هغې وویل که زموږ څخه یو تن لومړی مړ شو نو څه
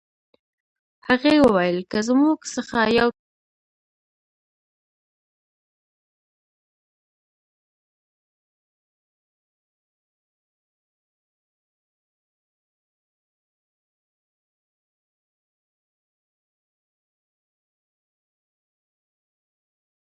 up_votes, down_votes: 1, 2